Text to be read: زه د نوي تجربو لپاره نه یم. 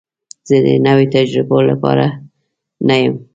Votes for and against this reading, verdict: 2, 0, accepted